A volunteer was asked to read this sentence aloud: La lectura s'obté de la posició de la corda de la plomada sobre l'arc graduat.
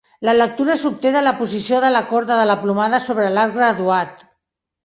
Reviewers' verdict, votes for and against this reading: accepted, 2, 0